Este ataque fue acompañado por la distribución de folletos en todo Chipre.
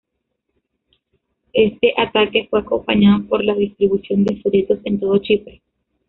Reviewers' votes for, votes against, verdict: 1, 2, rejected